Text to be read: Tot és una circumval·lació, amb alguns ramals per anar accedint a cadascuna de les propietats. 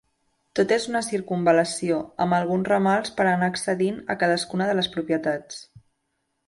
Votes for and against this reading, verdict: 2, 0, accepted